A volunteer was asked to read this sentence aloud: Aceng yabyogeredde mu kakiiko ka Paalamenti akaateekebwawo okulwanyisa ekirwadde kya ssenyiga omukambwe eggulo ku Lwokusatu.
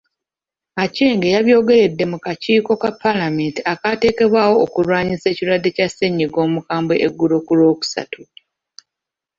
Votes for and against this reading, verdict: 2, 1, accepted